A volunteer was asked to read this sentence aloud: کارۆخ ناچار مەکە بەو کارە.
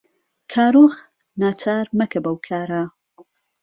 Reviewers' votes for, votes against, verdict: 2, 0, accepted